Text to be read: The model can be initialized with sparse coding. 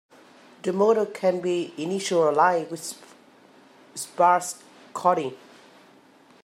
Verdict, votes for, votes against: accepted, 2, 1